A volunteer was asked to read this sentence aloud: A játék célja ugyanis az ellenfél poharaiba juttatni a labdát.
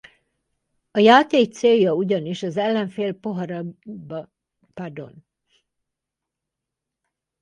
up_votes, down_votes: 0, 4